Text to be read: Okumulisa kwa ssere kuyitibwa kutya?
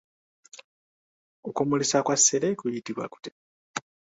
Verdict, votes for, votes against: accepted, 2, 0